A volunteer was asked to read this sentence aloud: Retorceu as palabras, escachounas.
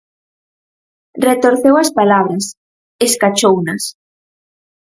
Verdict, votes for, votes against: accepted, 4, 0